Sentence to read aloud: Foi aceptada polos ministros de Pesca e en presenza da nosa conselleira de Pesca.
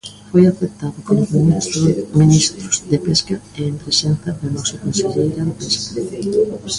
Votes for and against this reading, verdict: 0, 2, rejected